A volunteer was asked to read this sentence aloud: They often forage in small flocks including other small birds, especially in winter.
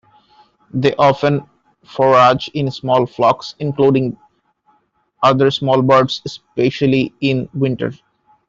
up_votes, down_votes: 2, 0